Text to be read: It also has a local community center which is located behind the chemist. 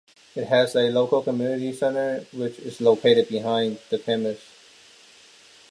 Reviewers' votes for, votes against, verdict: 0, 2, rejected